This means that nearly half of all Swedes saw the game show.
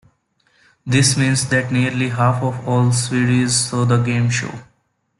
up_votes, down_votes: 1, 2